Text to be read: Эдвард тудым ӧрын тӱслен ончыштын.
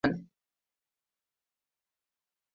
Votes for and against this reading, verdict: 0, 3, rejected